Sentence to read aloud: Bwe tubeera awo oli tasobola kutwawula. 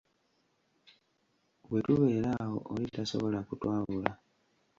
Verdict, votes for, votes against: rejected, 1, 2